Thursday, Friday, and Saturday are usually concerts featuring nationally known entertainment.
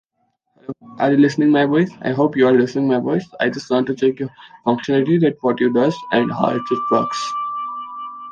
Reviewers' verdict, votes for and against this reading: rejected, 0, 2